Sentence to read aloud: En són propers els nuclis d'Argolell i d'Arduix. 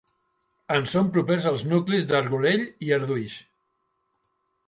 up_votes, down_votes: 3, 1